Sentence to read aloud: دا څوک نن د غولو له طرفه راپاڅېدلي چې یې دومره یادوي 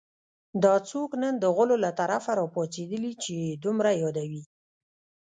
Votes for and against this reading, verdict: 0, 2, rejected